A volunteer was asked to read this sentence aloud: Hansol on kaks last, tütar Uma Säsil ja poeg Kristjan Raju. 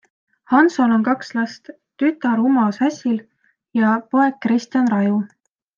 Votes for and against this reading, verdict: 2, 0, accepted